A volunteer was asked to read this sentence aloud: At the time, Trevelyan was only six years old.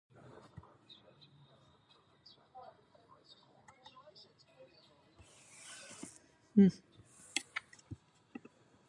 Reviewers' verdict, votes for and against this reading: rejected, 0, 2